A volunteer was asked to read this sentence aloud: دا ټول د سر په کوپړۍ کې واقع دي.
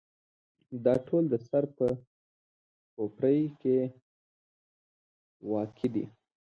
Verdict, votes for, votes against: rejected, 0, 2